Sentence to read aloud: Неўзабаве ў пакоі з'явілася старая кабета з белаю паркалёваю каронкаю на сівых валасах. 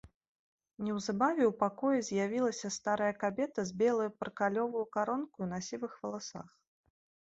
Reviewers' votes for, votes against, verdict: 1, 2, rejected